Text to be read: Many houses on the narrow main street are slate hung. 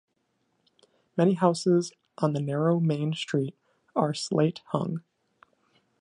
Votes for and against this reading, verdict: 2, 0, accepted